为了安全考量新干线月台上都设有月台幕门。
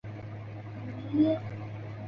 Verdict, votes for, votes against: rejected, 0, 3